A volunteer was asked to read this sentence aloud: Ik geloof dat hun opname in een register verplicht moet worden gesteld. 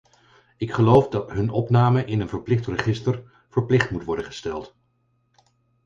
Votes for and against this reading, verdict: 0, 4, rejected